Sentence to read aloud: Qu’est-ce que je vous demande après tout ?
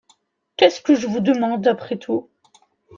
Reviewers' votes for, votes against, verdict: 2, 0, accepted